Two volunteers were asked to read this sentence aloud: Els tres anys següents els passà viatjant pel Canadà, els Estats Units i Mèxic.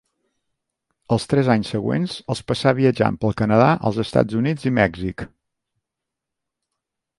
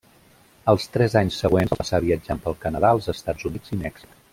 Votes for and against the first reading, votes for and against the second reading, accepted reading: 2, 0, 1, 2, first